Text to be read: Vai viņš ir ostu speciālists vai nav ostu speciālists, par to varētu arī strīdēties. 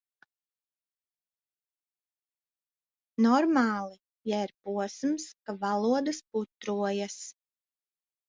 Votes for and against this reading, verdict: 0, 2, rejected